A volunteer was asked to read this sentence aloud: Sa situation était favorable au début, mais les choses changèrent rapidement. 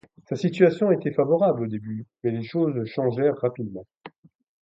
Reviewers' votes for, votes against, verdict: 2, 0, accepted